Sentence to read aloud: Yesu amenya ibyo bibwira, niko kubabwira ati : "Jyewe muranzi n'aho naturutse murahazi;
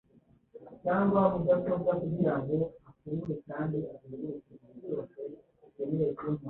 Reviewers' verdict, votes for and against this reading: rejected, 1, 2